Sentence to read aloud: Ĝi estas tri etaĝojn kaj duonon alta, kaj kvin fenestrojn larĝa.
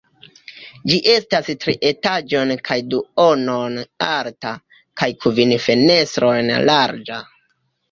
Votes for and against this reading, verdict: 0, 2, rejected